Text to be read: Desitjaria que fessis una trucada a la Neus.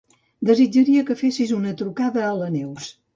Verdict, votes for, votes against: accepted, 2, 0